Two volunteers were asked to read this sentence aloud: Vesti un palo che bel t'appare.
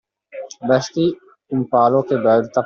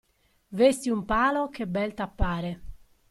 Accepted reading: second